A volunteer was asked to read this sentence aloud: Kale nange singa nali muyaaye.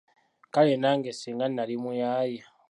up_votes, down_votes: 2, 0